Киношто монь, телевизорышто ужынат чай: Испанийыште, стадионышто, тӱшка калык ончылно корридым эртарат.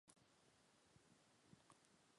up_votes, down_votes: 1, 2